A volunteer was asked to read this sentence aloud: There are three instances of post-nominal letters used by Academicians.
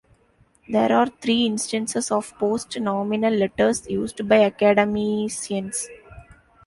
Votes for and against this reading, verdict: 0, 2, rejected